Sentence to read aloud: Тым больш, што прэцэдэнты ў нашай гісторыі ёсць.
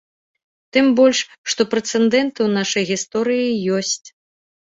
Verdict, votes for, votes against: rejected, 1, 2